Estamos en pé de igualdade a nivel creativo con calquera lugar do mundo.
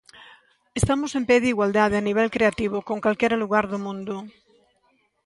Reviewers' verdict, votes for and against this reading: accepted, 2, 0